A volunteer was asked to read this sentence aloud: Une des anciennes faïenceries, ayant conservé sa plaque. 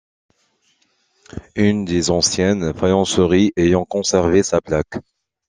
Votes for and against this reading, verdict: 2, 1, accepted